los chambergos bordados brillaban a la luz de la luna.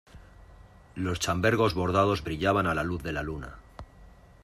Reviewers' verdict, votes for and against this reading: accepted, 2, 0